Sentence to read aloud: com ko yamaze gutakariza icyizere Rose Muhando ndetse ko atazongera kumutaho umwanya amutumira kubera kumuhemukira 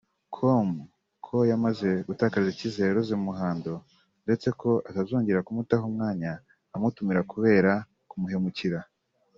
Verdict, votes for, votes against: accepted, 3, 0